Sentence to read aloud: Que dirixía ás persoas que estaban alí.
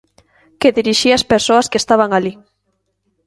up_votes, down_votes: 2, 0